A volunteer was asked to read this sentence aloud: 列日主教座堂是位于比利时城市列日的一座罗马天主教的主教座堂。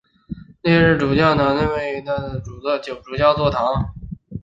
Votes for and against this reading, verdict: 2, 0, accepted